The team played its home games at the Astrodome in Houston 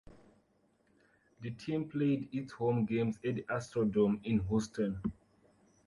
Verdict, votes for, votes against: accepted, 2, 1